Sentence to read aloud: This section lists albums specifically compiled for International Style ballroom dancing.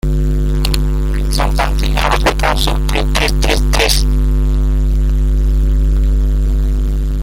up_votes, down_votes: 0, 2